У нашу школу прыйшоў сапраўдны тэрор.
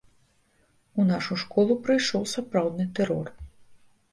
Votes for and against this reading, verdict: 2, 0, accepted